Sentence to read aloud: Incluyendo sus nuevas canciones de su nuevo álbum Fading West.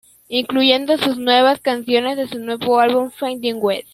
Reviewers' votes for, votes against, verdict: 1, 2, rejected